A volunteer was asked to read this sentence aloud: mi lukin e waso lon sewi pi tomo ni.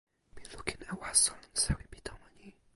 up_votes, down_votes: 0, 2